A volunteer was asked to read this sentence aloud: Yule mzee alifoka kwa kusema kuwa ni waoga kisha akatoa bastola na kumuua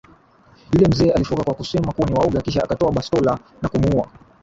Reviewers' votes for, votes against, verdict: 13, 13, rejected